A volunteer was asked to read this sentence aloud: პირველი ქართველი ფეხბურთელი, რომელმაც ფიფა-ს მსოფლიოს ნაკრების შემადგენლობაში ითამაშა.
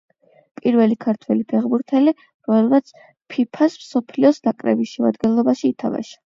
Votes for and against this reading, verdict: 8, 4, accepted